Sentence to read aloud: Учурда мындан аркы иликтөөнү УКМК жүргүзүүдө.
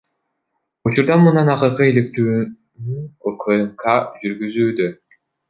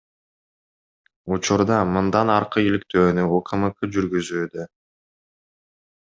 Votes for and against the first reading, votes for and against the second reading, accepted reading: 1, 2, 2, 0, second